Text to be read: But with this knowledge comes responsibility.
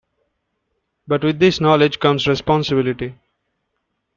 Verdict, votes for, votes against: accepted, 2, 0